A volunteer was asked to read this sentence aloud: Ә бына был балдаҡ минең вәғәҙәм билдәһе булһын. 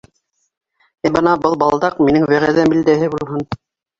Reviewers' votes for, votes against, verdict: 2, 1, accepted